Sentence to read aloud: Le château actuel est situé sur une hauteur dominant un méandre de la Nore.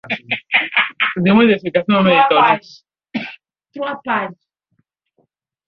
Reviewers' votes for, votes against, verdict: 0, 2, rejected